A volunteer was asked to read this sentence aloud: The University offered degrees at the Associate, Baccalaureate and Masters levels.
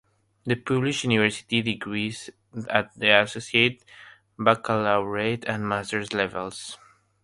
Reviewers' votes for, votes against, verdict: 0, 3, rejected